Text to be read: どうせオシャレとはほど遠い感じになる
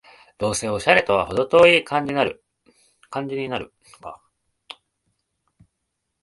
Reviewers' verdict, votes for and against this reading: rejected, 1, 2